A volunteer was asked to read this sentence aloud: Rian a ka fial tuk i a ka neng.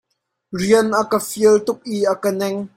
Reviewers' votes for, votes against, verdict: 0, 2, rejected